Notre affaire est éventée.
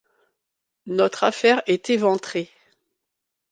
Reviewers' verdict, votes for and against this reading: rejected, 0, 2